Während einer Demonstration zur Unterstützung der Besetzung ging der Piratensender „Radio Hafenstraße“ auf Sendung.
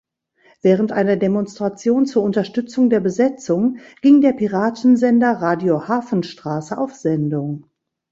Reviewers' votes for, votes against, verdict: 2, 0, accepted